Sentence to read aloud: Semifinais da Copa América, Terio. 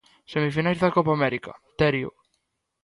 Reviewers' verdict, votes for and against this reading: rejected, 2, 3